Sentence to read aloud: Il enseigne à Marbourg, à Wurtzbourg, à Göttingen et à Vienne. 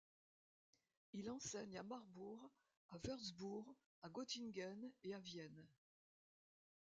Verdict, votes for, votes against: rejected, 1, 2